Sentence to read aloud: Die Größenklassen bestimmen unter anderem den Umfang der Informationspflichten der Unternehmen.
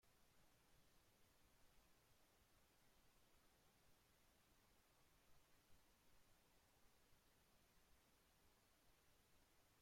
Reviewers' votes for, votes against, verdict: 0, 2, rejected